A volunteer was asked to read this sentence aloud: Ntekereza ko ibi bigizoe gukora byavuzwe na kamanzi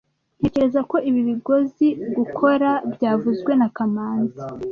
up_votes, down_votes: 1, 2